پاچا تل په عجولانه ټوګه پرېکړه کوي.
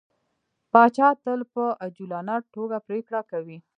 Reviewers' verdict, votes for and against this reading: accepted, 2, 1